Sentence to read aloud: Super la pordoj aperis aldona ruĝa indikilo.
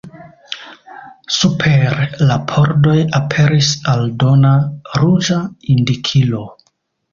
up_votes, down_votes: 1, 2